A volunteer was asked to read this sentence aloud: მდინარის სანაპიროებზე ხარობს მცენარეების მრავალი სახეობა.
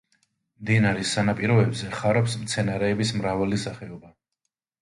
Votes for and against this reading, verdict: 2, 0, accepted